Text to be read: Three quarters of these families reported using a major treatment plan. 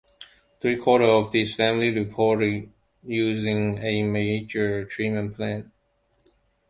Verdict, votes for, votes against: rejected, 1, 2